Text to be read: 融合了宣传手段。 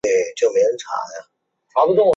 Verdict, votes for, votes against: rejected, 0, 2